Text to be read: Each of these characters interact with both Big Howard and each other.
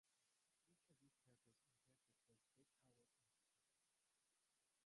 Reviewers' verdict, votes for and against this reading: rejected, 0, 2